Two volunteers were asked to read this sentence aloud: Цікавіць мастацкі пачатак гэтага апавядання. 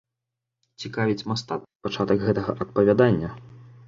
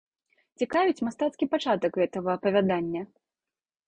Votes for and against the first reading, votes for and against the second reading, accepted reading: 1, 2, 3, 0, second